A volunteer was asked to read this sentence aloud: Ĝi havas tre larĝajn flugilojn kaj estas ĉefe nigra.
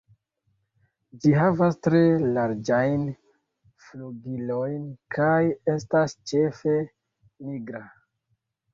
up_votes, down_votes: 2, 0